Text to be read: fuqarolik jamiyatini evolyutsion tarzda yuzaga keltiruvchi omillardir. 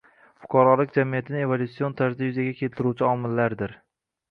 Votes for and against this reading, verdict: 1, 2, rejected